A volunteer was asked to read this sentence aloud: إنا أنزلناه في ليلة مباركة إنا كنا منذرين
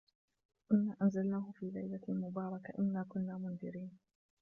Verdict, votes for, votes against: rejected, 1, 2